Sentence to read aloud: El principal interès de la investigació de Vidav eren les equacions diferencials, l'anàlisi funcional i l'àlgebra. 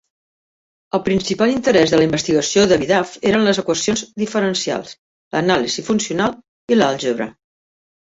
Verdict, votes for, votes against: accepted, 2, 0